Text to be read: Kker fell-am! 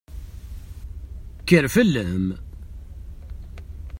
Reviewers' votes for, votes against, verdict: 2, 0, accepted